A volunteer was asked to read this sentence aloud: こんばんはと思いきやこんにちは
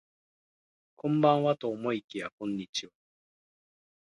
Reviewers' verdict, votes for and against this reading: rejected, 1, 2